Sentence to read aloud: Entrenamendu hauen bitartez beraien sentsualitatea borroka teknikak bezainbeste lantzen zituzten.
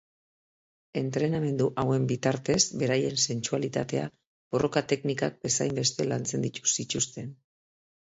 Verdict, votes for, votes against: rejected, 1, 2